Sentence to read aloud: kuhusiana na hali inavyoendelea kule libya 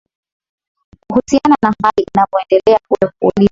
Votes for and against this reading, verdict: 5, 6, rejected